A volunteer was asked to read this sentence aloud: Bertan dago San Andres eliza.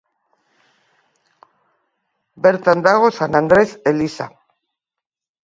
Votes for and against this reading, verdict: 2, 0, accepted